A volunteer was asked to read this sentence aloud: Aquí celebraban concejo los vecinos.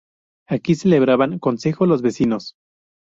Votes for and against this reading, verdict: 0, 2, rejected